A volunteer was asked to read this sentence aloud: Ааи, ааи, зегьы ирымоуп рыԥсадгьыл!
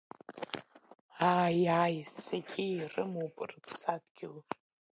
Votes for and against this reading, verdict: 3, 1, accepted